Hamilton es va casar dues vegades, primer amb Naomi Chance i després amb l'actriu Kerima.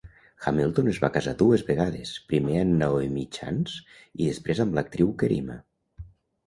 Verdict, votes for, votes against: accepted, 2, 0